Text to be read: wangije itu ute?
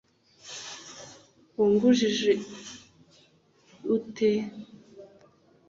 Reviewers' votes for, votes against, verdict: 0, 2, rejected